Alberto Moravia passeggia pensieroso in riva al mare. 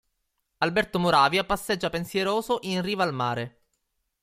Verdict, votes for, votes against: accepted, 2, 0